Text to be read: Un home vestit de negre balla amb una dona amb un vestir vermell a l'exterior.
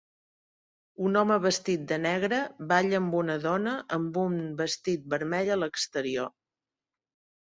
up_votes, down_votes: 1, 2